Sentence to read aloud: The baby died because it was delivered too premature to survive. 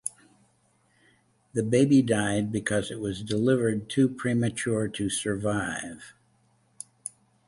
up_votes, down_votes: 2, 0